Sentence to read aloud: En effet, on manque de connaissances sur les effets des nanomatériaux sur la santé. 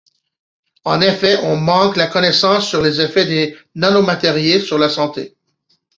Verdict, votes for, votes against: rejected, 0, 2